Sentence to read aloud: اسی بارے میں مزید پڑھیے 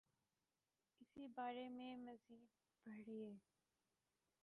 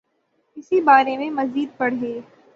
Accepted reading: second